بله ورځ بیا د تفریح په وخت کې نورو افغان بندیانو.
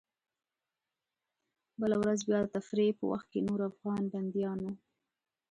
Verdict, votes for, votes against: accepted, 2, 0